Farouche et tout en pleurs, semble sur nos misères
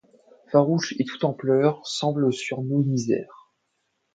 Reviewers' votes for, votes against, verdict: 2, 0, accepted